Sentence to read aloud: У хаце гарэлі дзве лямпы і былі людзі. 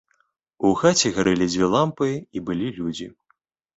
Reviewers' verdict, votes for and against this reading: rejected, 0, 2